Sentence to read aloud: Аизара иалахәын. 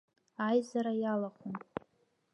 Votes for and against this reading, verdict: 0, 2, rejected